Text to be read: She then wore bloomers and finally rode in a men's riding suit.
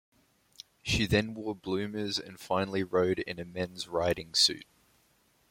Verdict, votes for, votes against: accepted, 2, 0